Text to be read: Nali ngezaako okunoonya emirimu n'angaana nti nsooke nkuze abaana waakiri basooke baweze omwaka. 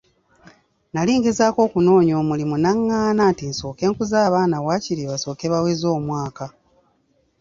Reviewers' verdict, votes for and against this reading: rejected, 1, 2